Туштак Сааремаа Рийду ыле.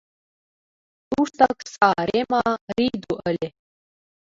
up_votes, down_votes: 0, 2